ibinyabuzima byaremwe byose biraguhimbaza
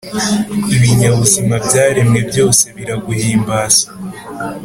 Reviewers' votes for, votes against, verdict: 2, 0, accepted